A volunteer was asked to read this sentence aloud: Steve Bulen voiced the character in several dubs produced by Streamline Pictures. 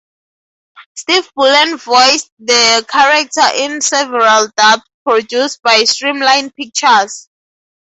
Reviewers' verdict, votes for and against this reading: rejected, 0, 2